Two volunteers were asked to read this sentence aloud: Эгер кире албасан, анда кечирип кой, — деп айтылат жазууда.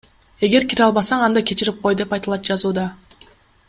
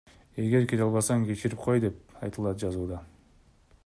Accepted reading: first